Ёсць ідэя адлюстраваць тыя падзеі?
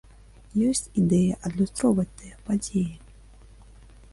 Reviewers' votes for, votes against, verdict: 0, 2, rejected